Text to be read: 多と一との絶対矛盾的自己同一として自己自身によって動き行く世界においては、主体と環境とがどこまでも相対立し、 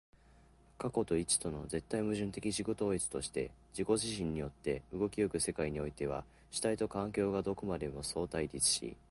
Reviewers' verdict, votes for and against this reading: accepted, 4, 2